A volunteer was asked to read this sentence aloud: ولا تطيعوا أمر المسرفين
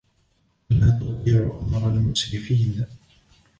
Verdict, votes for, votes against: rejected, 1, 2